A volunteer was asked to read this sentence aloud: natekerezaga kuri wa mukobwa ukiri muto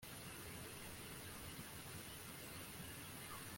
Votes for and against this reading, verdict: 0, 2, rejected